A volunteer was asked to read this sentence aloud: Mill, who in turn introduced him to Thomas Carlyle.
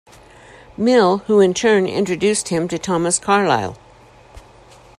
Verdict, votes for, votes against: accepted, 2, 0